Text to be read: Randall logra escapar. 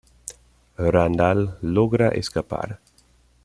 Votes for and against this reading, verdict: 2, 0, accepted